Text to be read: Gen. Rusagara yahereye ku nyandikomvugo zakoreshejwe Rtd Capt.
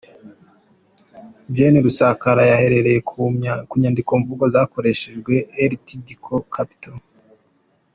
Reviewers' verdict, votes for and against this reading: accepted, 2, 0